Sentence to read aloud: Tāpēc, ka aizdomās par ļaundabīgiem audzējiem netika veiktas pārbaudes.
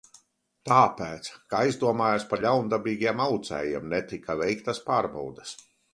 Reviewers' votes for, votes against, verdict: 0, 2, rejected